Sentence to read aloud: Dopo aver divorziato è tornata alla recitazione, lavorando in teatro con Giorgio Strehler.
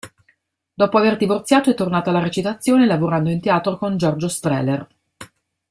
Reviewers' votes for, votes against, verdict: 0, 2, rejected